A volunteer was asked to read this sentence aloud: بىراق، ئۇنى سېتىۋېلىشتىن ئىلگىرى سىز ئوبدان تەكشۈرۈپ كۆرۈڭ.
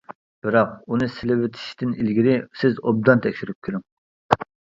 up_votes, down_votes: 0, 2